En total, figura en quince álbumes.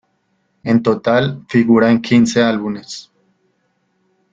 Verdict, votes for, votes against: rejected, 1, 2